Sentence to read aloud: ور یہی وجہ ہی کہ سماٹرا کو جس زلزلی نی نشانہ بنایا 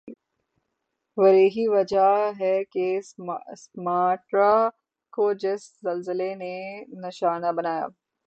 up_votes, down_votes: 3, 3